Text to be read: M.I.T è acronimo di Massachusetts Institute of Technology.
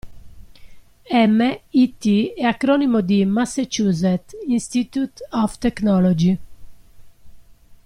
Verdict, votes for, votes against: rejected, 0, 2